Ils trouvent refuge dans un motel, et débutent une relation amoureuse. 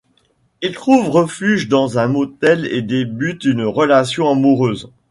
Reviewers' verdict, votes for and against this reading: rejected, 1, 2